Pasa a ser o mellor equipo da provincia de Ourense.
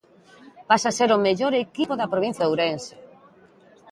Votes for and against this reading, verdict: 2, 0, accepted